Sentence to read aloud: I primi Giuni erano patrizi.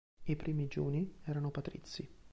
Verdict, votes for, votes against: accepted, 2, 0